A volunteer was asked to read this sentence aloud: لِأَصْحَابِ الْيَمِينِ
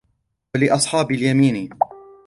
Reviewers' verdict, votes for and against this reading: accepted, 2, 0